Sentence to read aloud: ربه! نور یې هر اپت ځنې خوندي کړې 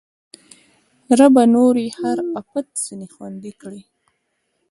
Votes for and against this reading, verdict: 1, 2, rejected